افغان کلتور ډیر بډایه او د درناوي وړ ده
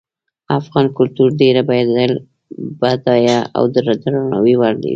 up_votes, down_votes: 2, 0